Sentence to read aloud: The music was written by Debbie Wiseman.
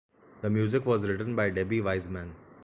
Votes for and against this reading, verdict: 2, 0, accepted